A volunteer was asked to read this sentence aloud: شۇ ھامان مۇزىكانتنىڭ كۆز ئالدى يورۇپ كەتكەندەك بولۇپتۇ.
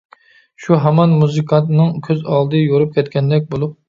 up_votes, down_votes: 0, 2